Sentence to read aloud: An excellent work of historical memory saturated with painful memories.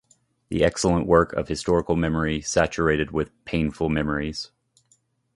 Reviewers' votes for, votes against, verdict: 0, 2, rejected